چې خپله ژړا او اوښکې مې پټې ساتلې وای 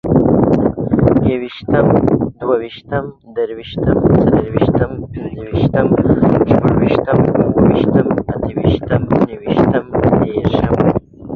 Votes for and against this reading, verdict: 0, 2, rejected